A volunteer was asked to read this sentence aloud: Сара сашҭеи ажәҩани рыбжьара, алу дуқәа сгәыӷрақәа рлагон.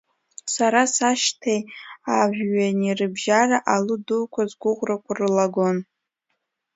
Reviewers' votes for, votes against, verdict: 2, 0, accepted